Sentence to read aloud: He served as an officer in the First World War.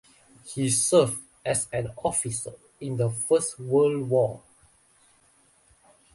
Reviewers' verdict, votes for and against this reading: accepted, 2, 0